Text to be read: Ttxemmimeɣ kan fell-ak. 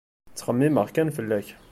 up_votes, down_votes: 2, 0